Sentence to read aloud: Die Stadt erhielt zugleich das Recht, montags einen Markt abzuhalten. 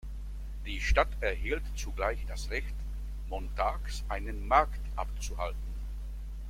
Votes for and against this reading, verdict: 2, 1, accepted